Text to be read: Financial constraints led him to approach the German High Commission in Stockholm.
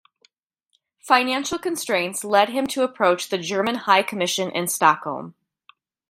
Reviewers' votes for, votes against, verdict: 1, 2, rejected